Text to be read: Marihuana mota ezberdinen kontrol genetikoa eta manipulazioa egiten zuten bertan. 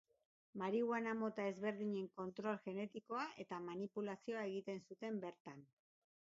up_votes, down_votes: 3, 0